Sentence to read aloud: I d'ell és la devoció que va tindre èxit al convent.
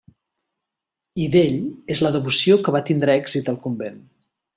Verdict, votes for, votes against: accepted, 3, 0